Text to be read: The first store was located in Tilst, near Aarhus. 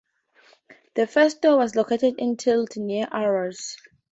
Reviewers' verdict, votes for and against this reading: accepted, 2, 0